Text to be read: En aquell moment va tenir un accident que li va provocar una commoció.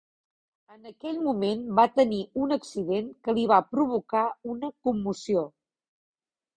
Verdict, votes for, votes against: accepted, 2, 0